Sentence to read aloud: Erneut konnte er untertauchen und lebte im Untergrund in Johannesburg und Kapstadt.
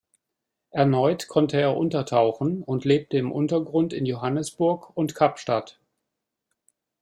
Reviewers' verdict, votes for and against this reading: accepted, 2, 0